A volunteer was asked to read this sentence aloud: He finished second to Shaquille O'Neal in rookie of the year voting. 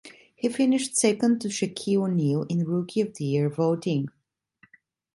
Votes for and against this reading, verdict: 2, 0, accepted